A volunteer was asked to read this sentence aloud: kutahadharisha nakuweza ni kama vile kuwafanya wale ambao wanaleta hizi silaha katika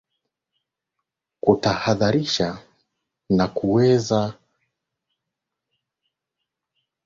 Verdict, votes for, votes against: rejected, 3, 13